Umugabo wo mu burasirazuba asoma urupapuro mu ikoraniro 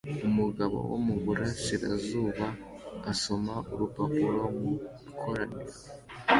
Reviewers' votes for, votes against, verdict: 2, 0, accepted